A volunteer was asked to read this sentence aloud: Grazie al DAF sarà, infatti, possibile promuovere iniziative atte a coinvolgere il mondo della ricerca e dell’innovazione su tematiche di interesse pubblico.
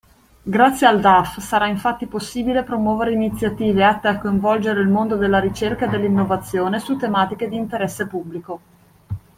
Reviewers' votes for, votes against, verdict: 2, 0, accepted